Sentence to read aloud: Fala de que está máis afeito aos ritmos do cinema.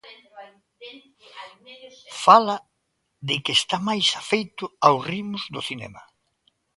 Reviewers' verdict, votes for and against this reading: accepted, 2, 0